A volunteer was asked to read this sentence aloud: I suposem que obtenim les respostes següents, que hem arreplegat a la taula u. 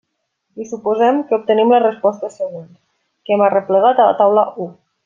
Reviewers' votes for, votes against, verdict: 1, 2, rejected